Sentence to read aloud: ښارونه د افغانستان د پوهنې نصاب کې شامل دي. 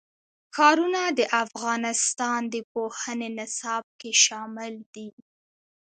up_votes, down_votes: 2, 1